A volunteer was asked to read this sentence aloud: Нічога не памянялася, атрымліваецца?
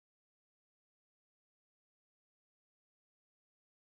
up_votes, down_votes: 0, 2